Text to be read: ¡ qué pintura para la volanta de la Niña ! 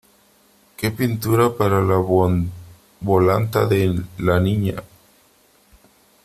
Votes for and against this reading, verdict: 1, 3, rejected